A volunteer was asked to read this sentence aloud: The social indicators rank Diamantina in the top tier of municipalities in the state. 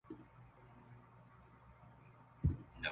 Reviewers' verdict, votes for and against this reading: rejected, 0, 2